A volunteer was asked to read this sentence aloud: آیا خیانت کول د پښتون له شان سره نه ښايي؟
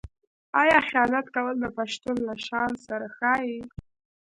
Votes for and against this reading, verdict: 1, 2, rejected